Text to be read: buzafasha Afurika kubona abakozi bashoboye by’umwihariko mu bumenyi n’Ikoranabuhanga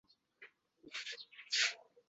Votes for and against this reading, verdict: 0, 2, rejected